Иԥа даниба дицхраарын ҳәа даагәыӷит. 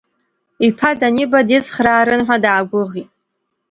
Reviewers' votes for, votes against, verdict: 2, 0, accepted